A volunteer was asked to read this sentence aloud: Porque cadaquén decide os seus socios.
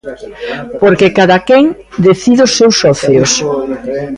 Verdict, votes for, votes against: accepted, 2, 1